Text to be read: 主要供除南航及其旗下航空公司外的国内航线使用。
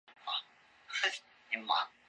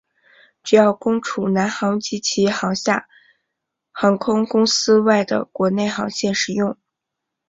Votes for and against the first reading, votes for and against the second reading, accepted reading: 0, 2, 6, 1, second